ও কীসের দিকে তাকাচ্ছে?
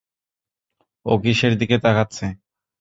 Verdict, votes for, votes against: accepted, 2, 0